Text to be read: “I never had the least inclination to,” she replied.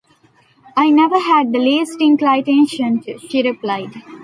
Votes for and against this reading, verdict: 1, 2, rejected